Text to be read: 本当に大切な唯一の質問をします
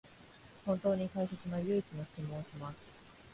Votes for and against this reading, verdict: 0, 2, rejected